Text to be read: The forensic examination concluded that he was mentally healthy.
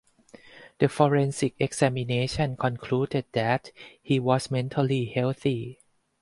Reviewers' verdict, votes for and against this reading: accepted, 4, 0